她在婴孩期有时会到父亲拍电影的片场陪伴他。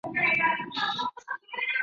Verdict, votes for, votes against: rejected, 0, 3